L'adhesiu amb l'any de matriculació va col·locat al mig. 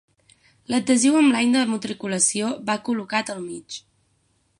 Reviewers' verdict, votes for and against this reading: accepted, 6, 0